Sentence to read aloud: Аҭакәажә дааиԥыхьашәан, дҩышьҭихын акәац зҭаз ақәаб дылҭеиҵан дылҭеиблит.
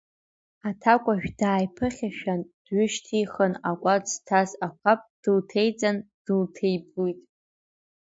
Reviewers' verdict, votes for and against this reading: accepted, 2, 0